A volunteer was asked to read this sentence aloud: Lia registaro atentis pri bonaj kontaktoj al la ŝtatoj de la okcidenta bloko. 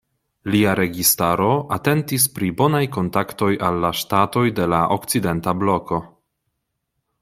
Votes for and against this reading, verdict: 2, 0, accepted